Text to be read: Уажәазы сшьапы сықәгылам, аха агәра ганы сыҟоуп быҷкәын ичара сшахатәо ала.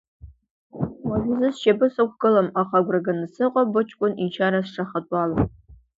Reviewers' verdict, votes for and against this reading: accepted, 2, 1